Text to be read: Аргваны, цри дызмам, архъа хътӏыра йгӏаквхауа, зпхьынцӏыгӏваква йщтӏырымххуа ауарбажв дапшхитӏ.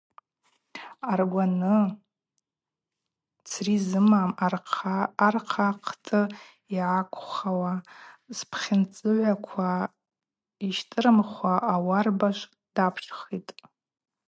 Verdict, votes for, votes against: rejected, 2, 4